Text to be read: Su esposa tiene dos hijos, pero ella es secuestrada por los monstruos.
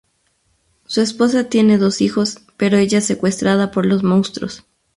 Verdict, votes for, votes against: rejected, 2, 2